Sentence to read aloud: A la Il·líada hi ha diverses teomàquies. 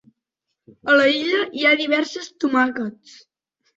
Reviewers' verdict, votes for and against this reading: rejected, 0, 2